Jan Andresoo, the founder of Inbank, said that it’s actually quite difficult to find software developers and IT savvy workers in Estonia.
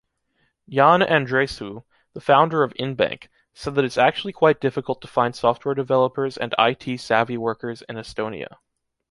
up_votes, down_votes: 2, 0